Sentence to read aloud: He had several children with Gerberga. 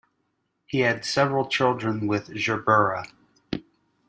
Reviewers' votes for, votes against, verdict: 1, 2, rejected